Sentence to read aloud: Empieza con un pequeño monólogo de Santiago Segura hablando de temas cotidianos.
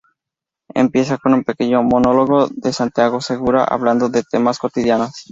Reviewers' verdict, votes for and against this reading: accepted, 2, 0